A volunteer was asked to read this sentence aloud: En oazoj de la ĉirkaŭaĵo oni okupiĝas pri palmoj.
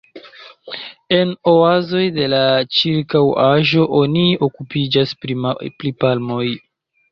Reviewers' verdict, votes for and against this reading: rejected, 0, 2